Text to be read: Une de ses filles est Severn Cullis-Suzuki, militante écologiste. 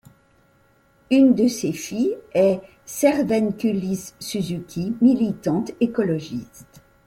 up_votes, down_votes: 2, 0